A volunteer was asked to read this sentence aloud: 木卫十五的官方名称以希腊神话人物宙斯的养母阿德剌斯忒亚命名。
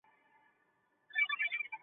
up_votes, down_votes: 3, 2